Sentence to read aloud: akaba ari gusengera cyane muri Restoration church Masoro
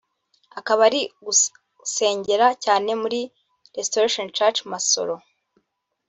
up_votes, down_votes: 1, 2